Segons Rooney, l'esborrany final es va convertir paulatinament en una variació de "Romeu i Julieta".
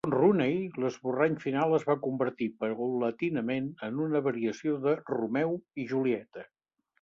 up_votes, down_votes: 1, 2